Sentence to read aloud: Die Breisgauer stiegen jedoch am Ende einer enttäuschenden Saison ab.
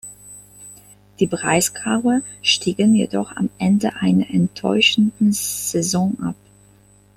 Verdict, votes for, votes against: accepted, 2, 0